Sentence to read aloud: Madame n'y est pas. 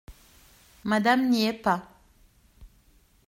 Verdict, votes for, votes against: accepted, 2, 0